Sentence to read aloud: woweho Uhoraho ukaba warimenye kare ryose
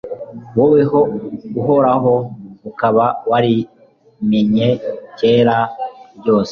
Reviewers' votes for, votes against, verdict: 1, 2, rejected